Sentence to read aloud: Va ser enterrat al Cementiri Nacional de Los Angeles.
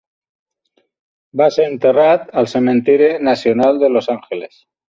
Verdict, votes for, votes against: rejected, 0, 2